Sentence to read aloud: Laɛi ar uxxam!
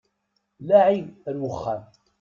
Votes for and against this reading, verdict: 2, 0, accepted